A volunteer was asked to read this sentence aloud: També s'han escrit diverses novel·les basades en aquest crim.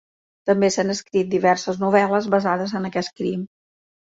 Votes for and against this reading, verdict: 2, 0, accepted